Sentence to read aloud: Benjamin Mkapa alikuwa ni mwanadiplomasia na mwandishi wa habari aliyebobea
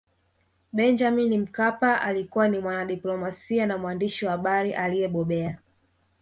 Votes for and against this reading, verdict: 2, 0, accepted